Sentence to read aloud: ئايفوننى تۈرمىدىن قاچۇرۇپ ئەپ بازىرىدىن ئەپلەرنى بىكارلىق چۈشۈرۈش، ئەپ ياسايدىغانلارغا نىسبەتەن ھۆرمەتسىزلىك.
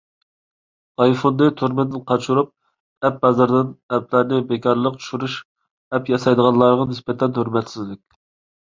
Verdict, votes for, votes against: accepted, 2, 1